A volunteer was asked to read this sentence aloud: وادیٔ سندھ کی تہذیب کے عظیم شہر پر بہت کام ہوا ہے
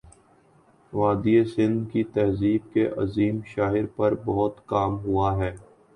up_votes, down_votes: 0, 2